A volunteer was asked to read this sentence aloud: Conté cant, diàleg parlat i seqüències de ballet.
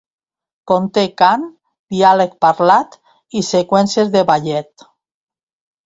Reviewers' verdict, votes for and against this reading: accepted, 2, 1